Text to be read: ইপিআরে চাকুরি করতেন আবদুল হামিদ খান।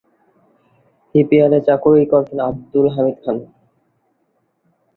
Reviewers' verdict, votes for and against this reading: rejected, 1, 2